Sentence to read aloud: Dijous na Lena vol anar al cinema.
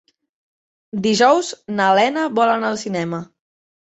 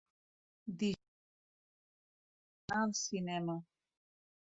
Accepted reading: first